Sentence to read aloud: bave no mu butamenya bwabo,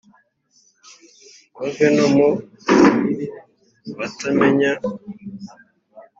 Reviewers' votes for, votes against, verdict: 2, 3, rejected